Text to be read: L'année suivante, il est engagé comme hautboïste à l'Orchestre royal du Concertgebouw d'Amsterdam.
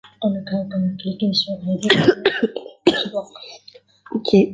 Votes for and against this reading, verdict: 0, 2, rejected